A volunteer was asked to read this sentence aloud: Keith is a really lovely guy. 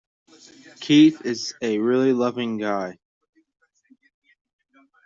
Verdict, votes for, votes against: rejected, 1, 2